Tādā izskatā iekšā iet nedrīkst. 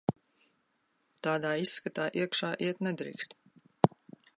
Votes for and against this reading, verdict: 2, 0, accepted